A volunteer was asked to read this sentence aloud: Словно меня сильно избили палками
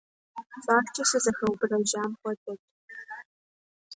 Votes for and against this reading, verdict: 0, 2, rejected